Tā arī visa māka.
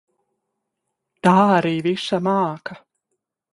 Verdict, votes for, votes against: rejected, 0, 2